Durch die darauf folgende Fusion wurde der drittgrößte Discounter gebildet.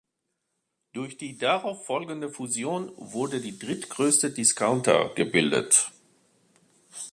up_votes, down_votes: 1, 2